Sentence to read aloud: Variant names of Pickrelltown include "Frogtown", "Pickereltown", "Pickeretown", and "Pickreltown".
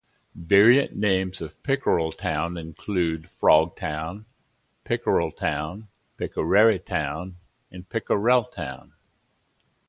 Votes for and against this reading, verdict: 2, 0, accepted